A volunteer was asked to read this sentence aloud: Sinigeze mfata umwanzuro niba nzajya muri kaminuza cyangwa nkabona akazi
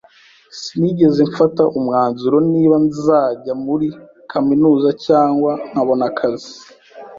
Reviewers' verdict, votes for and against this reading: accepted, 2, 0